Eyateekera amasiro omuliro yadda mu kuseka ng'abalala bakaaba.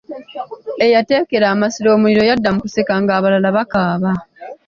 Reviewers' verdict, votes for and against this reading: accepted, 2, 0